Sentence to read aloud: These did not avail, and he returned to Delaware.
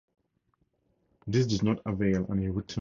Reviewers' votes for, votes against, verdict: 0, 2, rejected